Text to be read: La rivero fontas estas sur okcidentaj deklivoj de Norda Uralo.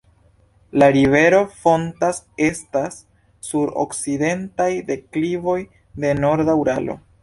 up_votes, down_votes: 2, 0